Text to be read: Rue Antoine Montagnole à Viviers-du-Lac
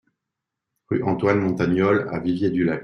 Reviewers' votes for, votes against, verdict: 2, 0, accepted